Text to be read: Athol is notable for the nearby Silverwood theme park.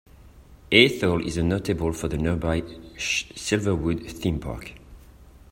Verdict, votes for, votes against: rejected, 1, 2